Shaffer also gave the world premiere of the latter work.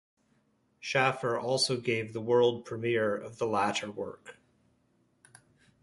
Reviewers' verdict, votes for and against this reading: accepted, 2, 0